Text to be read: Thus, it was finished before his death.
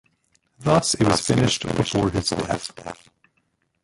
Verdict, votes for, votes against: rejected, 0, 2